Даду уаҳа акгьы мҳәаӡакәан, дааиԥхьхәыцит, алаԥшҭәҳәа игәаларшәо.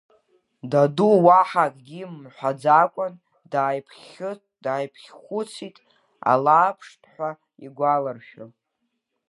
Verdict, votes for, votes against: rejected, 1, 3